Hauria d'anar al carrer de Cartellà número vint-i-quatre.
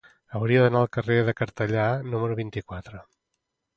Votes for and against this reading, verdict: 2, 0, accepted